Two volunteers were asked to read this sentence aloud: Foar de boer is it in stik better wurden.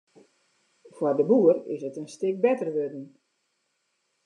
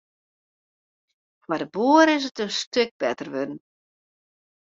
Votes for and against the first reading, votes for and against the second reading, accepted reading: 2, 0, 1, 2, first